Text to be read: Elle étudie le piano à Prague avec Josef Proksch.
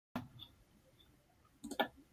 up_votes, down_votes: 0, 2